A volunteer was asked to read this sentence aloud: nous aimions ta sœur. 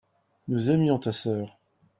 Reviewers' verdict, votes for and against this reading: accepted, 2, 0